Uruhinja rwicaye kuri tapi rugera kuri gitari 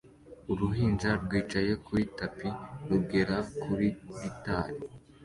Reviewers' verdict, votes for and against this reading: accepted, 2, 1